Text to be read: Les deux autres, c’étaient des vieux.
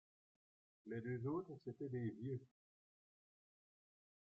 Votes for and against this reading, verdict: 1, 2, rejected